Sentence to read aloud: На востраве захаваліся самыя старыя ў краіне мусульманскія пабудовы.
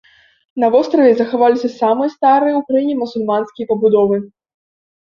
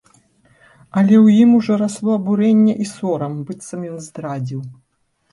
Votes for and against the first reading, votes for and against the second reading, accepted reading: 2, 0, 0, 3, first